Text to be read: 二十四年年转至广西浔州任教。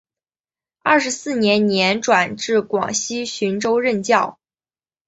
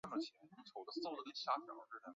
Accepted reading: first